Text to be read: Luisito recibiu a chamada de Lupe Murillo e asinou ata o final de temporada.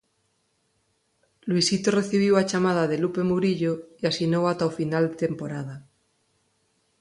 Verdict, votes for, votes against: accepted, 4, 0